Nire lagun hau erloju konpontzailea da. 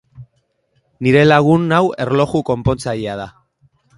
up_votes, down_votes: 3, 0